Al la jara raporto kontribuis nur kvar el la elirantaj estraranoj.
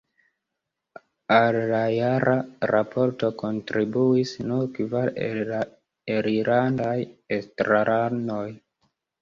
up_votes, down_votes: 1, 2